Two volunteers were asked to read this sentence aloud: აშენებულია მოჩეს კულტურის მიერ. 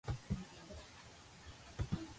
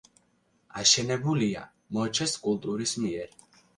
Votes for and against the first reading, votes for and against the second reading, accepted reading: 0, 2, 2, 0, second